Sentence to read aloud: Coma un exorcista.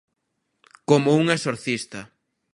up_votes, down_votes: 1, 2